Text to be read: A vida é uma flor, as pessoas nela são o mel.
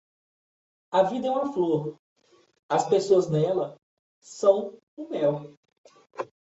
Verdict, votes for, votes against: accepted, 2, 1